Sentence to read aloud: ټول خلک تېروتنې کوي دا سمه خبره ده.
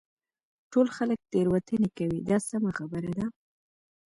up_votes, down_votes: 2, 0